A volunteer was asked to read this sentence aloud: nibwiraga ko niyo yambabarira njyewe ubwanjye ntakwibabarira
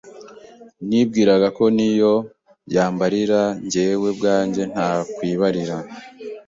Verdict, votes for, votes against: rejected, 1, 2